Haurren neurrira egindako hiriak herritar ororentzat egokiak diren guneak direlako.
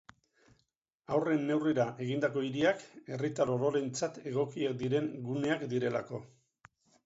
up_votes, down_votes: 0, 2